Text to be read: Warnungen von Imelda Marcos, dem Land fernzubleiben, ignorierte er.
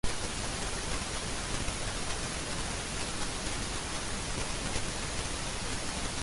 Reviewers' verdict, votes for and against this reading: rejected, 0, 2